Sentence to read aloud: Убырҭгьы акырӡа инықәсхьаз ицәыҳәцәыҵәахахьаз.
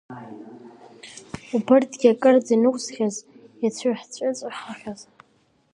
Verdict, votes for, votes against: rejected, 1, 2